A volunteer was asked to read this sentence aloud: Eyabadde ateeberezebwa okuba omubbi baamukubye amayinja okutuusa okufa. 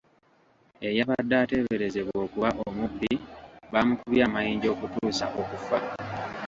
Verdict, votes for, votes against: rejected, 0, 2